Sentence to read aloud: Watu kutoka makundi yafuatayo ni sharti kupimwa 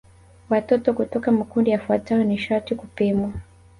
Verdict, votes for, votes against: rejected, 1, 2